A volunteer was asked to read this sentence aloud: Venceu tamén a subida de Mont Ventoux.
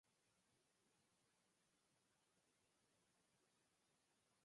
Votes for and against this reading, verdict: 2, 4, rejected